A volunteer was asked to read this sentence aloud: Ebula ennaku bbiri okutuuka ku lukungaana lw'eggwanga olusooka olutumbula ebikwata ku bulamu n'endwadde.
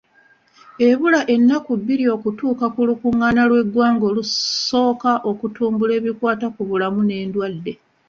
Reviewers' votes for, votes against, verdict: 2, 1, accepted